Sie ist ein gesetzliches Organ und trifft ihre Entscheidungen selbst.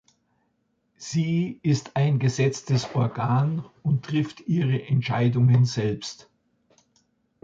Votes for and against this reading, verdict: 1, 2, rejected